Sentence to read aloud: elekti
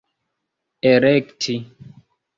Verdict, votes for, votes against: rejected, 1, 2